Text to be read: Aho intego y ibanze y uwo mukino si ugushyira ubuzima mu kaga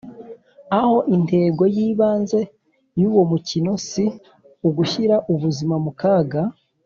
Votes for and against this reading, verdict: 2, 0, accepted